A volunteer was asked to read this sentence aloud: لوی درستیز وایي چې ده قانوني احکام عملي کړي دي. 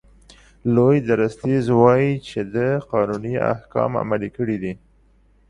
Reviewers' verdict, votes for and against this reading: accepted, 2, 0